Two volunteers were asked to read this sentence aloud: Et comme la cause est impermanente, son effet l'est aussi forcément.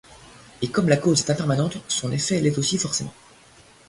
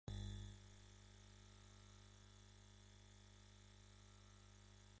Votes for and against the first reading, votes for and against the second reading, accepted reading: 2, 0, 1, 2, first